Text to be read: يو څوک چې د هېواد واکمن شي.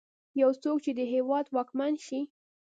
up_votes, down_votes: 0, 2